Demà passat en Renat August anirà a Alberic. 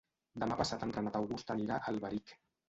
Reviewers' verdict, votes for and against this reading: accepted, 2, 1